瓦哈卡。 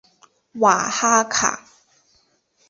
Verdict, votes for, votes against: accepted, 2, 0